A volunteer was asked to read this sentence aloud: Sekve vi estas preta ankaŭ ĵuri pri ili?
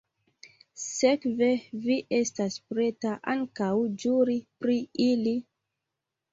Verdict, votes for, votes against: accepted, 2, 0